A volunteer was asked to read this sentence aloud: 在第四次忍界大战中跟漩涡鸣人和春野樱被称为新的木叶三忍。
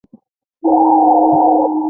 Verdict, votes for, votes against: rejected, 0, 2